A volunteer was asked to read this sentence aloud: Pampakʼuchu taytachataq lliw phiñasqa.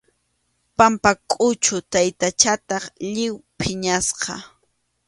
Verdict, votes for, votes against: accepted, 2, 0